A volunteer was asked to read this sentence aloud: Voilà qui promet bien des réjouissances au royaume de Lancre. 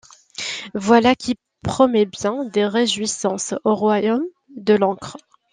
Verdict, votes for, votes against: rejected, 1, 2